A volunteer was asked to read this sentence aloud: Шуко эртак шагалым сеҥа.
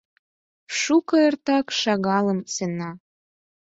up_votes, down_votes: 0, 4